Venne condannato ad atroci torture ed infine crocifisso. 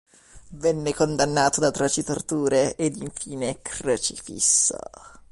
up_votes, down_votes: 1, 2